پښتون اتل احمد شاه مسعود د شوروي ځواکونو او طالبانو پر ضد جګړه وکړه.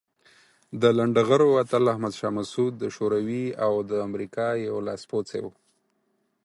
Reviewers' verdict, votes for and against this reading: rejected, 0, 4